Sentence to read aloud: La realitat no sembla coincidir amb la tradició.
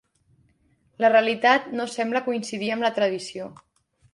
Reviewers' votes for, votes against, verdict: 2, 0, accepted